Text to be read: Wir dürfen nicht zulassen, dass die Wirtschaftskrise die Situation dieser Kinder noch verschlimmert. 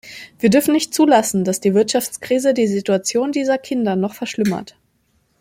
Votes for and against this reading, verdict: 2, 0, accepted